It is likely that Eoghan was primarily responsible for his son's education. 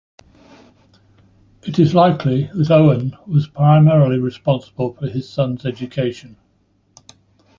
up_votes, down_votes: 2, 0